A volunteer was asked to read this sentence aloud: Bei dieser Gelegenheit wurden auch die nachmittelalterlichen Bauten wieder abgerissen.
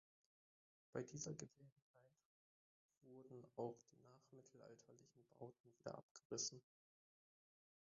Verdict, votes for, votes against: rejected, 0, 2